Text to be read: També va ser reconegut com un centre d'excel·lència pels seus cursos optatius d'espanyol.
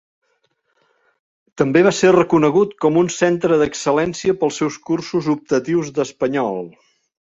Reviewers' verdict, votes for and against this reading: rejected, 0, 2